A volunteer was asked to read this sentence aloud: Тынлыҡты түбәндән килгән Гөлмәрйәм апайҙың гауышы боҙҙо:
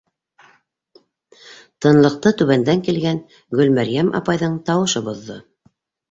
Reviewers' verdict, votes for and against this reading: rejected, 1, 2